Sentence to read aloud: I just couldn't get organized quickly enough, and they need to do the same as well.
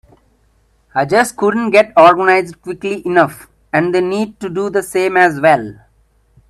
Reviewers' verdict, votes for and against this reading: accepted, 2, 0